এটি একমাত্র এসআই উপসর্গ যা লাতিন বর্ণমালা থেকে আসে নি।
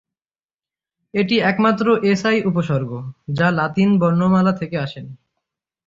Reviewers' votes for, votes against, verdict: 3, 0, accepted